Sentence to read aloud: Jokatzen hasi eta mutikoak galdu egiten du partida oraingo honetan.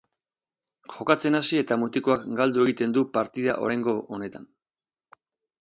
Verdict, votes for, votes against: accepted, 6, 2